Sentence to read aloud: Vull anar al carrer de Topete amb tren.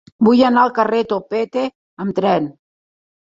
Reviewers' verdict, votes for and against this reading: rejected, 0, 3